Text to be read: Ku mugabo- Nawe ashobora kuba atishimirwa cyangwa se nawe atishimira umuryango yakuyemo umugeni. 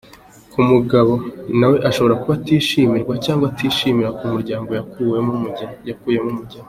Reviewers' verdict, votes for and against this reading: rejected, 0, 2